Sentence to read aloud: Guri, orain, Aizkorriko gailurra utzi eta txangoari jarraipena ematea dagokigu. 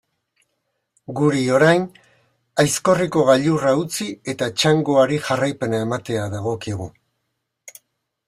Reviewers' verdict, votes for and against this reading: accepted, 2, 0